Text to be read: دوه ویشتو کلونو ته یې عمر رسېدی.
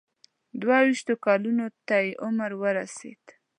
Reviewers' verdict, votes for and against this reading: rejected, 0, 2